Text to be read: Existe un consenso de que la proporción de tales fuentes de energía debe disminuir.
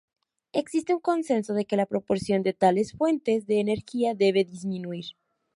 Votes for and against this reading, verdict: 2, 0, accepted